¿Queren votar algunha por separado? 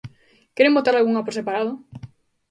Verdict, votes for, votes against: accepted, 2, 0